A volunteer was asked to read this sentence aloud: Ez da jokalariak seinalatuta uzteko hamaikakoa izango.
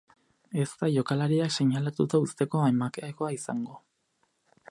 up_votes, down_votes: 0, 4